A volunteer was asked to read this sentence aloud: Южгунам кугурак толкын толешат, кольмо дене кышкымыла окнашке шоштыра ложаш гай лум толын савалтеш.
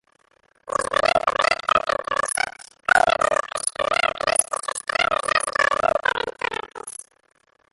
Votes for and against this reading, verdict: 0, 2, rejected